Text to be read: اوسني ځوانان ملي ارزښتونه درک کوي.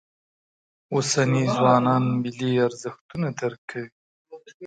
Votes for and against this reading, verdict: 1, 4, rejected